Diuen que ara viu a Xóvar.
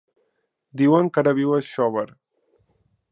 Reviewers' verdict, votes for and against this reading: accepted, 5, 0